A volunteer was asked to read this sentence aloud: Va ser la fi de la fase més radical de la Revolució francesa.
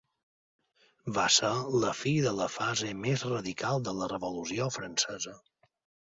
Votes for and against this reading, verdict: 3, 0, accepted